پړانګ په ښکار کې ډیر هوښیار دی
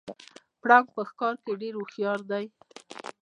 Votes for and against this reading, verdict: 0, 2, rejected